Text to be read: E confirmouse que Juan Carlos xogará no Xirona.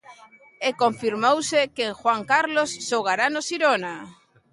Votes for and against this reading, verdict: 1, 2, rejected